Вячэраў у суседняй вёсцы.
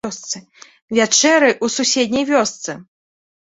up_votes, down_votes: 0, 2